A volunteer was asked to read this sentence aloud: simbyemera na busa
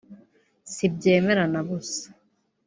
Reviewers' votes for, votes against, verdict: 2, 3, rejected